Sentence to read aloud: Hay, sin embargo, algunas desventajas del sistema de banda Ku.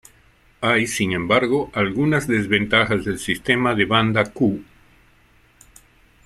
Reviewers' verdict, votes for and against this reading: accepted, 2, 0